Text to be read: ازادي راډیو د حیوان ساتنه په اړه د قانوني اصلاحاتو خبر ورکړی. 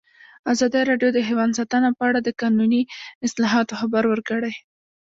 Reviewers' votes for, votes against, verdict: 2, 0, accepted